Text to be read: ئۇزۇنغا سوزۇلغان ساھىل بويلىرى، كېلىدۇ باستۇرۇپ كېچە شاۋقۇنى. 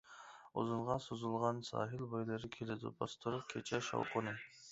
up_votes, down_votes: 2, 0